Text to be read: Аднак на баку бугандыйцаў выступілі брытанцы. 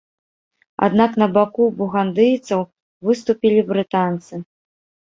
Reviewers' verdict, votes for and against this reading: accepted, 3, 0